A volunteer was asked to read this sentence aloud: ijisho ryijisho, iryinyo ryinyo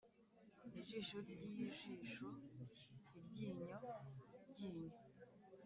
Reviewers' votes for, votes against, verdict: 1, 2, rejected